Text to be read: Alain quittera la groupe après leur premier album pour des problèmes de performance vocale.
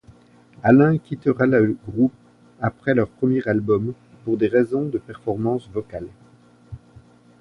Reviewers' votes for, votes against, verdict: 1, 2, rejected